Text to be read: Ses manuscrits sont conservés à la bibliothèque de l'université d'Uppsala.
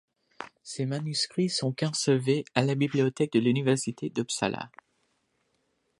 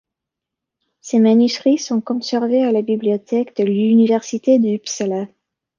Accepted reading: second